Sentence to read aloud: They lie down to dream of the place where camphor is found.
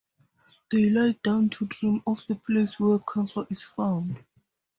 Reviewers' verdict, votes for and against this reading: accepted, 6, 2